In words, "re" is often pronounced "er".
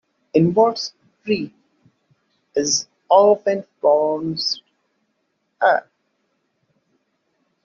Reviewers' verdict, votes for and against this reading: rejected, 1, 2